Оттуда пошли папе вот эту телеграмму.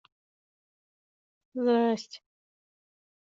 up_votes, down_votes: 0, 2